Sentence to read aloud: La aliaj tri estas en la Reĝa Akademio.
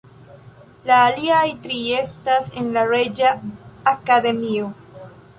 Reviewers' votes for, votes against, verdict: 3, 0, accepted